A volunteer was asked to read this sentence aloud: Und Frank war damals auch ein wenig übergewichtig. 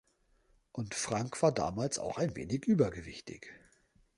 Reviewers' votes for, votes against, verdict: 2, 0, accepted